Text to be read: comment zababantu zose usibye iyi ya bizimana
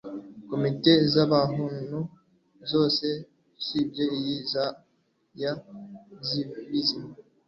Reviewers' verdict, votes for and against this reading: rejected, 0, 2